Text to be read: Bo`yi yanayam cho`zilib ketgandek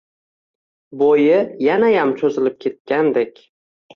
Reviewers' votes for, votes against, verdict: 2, 0, accepted